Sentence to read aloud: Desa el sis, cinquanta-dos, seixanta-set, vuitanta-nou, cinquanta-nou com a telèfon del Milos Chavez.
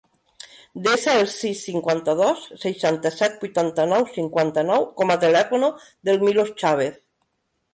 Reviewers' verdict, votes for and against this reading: rejected, 0, 2